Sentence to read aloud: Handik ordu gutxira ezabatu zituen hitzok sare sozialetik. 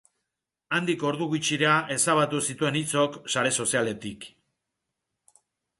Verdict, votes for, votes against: accepted, 2, 0